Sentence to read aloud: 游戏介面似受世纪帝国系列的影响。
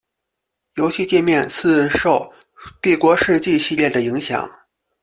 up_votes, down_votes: 0, 2